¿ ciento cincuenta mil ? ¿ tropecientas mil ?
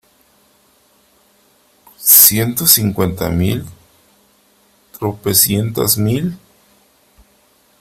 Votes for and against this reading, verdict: 3, 0, accepted